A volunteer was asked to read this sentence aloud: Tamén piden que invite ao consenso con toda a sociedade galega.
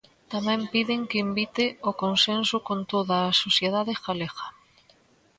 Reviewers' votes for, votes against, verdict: 2, 0, accepted